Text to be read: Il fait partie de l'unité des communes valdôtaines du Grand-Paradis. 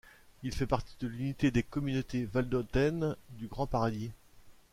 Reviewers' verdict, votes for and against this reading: rejected, 0, 2